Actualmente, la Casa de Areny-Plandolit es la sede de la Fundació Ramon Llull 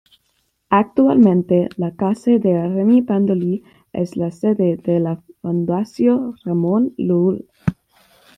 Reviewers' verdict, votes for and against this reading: accepted, 2, 1